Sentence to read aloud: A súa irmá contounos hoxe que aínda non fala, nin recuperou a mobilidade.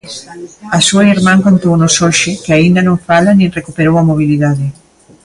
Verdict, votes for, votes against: rejected, 1, 2